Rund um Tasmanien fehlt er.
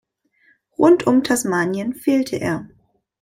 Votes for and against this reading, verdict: 1, 2, rejected